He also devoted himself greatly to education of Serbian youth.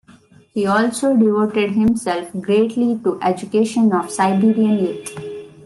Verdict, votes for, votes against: rejected, 0, 2